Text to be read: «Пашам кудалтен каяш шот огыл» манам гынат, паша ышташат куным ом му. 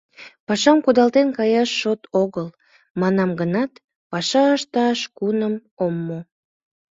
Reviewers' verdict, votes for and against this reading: rejected, 1, 2